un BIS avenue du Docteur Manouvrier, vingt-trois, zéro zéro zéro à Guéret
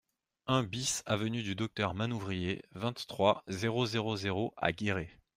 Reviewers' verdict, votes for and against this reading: accepted, 2, 0